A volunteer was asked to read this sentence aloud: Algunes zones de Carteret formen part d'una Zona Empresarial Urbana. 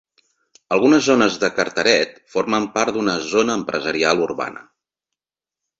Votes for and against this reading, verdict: 2, 0, accepted